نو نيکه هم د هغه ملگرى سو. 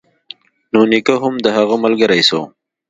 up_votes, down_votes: 2, 0